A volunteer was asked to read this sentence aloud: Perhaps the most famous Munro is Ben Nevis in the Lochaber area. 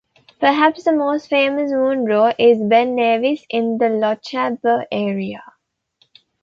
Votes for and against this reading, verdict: 2, 0, accepted